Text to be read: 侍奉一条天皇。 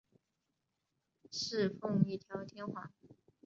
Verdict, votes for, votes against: accepted, 4, 0